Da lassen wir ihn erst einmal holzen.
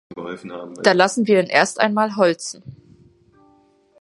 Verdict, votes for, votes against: rejected, 1, 2